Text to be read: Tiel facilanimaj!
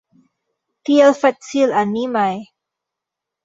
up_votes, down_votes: 2, 1